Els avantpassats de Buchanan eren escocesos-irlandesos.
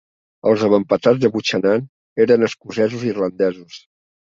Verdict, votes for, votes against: rejected, 1, 2